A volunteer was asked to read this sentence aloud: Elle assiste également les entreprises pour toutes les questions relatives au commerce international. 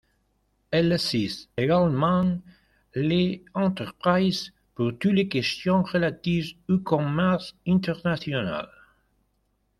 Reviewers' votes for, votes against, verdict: 2, 0, accepted